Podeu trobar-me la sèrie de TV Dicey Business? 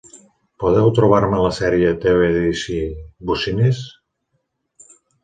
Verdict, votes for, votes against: rejected, 0, 2